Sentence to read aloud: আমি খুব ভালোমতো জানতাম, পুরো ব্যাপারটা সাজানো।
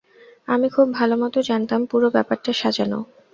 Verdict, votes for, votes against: rejected, 0, 2